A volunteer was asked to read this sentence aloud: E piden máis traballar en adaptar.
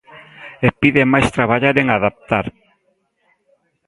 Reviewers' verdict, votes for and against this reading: accepted, 3, 0